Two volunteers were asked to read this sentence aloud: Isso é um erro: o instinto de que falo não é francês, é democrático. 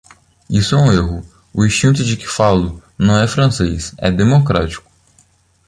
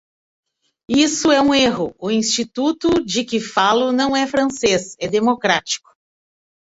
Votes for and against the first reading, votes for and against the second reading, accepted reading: 2, 0, 1, 2, first